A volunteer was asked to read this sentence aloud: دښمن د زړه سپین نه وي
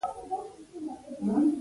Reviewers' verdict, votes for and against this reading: rejected, 0, 2